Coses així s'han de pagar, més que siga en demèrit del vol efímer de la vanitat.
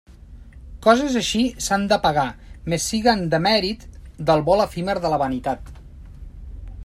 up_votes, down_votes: 0, 2